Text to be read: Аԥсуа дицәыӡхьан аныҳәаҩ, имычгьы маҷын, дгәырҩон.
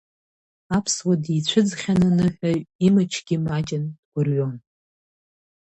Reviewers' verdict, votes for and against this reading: rejected, 2, 3